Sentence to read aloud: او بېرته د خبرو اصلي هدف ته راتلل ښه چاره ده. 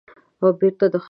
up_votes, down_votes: 0, 2